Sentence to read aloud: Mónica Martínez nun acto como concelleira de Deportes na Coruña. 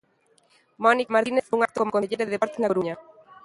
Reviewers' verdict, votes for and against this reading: rejected, 0, 2